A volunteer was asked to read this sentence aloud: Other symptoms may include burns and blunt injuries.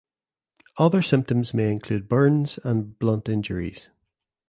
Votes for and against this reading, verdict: 3, 0, accepted